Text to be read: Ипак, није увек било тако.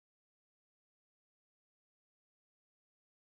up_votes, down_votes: 0, 2